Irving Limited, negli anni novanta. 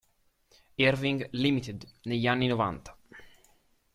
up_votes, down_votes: 2, 0